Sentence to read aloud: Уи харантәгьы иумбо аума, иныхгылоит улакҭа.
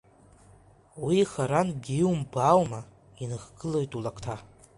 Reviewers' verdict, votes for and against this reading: accepted, 2, 0